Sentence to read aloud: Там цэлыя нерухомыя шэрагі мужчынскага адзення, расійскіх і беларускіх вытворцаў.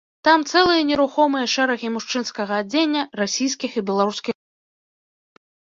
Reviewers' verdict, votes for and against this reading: rejected, 1, 2